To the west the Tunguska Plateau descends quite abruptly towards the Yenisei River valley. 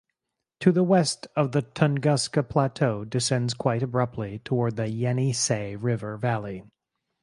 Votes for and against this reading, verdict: 0, 4, rejected